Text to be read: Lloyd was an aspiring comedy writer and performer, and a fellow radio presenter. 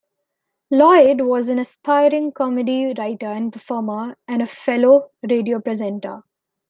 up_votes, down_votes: 2, 0